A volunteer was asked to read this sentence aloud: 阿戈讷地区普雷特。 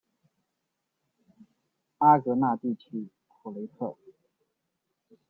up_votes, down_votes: 1, 2